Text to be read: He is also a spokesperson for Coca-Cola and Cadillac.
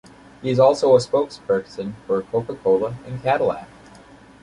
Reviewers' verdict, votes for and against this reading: accepted, 2, 0